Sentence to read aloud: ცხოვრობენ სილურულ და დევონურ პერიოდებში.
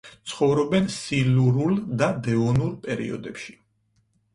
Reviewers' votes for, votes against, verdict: 4, 0, accepted